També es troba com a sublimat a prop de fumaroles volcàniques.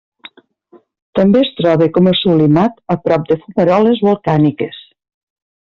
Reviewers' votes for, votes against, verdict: 1, 2, rejected